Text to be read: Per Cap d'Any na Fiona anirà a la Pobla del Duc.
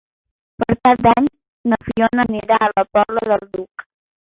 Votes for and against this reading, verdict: 0, 2, rejected